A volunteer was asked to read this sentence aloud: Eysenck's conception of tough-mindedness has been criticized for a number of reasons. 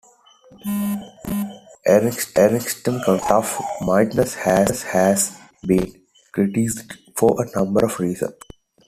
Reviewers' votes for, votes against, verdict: 0, 2, rejected